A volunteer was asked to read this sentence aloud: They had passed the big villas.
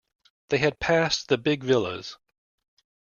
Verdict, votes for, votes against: accepted, 2, 0